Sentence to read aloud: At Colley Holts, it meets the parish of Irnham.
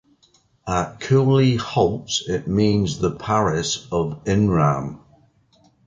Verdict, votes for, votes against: rejected, 0, 2